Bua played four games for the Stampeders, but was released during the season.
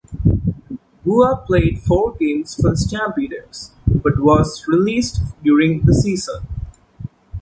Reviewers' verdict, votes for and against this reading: accepted, 3, 1